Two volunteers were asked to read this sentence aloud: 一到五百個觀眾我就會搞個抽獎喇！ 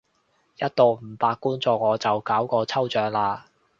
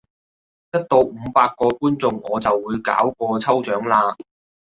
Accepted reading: second